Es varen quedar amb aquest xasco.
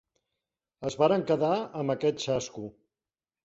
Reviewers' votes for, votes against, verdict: 3, 0, accepted